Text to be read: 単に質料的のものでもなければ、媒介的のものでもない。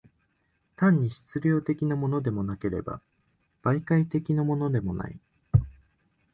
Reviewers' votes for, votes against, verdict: 2, 0, accepted